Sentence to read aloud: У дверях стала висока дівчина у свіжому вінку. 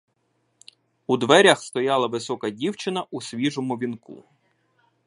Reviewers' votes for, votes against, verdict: 0, 2, rejected